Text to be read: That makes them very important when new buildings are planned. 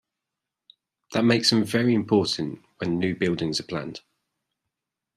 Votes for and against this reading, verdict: 4, 0, accepted